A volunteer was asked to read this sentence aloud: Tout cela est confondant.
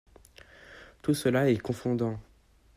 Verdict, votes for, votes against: accepted, 2, 0